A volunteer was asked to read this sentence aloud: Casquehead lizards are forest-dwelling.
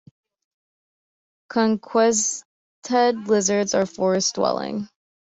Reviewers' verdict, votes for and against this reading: rejected, 0, 2